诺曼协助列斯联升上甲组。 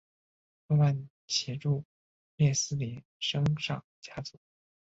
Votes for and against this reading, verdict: 0, 2, rejected